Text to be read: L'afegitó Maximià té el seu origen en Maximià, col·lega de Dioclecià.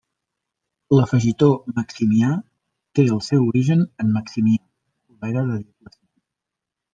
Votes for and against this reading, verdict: 1, 2, rejected